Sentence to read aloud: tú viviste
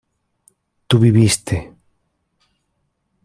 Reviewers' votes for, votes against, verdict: 2, 0, accepted